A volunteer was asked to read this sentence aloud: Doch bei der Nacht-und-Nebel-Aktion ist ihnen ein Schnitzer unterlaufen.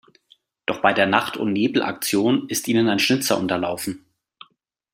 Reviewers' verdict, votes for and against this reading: accepted, 2, 0